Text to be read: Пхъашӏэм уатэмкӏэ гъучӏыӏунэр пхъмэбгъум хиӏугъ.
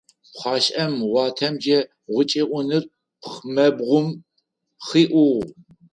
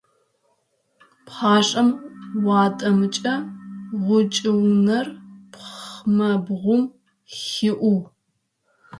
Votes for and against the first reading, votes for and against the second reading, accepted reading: 4, 0, 0, 3, first